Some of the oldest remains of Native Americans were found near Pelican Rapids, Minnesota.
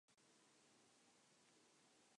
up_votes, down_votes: 0, 2